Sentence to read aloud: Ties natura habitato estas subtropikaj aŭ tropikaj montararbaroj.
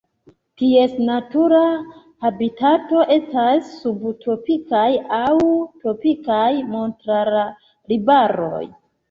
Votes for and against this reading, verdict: 0, 2, rejected